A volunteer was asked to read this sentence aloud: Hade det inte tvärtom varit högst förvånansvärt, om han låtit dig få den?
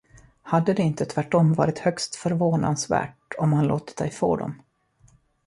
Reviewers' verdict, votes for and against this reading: rejected, 1, 2